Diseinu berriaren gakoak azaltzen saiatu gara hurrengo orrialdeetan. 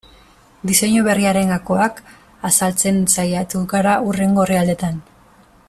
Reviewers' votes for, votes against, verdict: 0, 2, rejected